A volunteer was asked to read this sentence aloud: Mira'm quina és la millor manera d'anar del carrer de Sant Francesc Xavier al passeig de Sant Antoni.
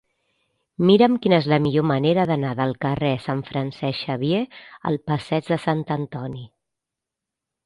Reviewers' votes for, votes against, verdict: 0, 2, rejected